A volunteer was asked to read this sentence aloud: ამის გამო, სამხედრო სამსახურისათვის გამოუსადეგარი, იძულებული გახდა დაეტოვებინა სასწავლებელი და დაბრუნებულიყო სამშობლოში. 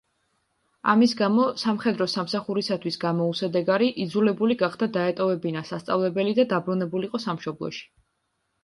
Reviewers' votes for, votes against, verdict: 3, 0, accepted